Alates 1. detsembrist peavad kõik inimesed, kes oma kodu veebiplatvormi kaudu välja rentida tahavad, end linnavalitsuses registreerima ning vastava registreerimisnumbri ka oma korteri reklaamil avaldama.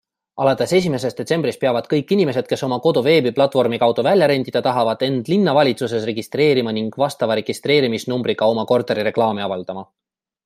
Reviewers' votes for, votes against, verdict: 0, 2, rejected